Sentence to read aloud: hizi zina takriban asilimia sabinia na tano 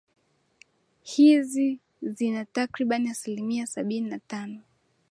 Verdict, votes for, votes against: accepted, 11, 4